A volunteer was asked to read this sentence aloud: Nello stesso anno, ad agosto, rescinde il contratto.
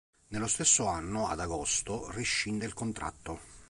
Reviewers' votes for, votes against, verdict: 2, 0, accepted